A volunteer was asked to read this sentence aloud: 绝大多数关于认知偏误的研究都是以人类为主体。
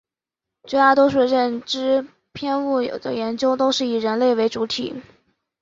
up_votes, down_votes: 0, 2